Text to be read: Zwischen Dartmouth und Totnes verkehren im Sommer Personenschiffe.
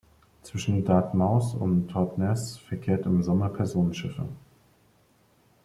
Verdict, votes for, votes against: rejected, 0, 2